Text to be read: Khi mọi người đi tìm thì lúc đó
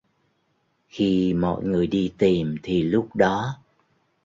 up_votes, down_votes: 2, 0